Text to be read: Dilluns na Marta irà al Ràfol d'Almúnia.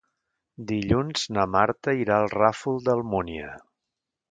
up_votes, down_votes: 2, 0